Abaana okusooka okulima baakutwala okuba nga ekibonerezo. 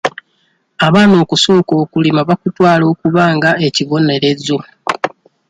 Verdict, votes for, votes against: accepted, 2, 0